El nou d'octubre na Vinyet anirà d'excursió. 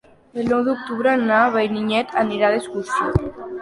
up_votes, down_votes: 0, 2